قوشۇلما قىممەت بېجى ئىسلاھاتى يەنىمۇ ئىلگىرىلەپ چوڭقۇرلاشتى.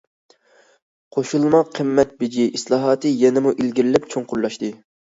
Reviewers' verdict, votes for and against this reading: accepted, 2, 0